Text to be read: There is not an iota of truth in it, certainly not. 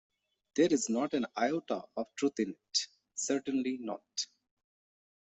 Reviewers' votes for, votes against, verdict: 2, 0, accepted